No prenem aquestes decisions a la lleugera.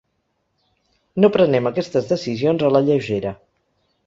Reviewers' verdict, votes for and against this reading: accepted, 3, 0